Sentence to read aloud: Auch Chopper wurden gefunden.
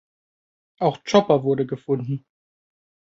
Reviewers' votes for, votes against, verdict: 1, 2, rejected